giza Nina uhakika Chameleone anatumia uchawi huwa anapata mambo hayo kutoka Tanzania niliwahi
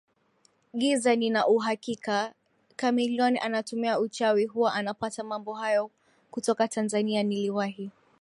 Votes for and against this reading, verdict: 2, 0, accepted